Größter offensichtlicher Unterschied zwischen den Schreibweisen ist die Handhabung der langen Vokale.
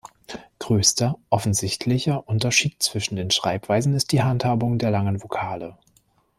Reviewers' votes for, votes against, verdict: 0, 2, rejected